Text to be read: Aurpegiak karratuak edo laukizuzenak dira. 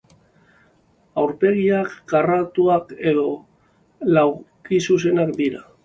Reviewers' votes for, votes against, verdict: 3, 2, accepted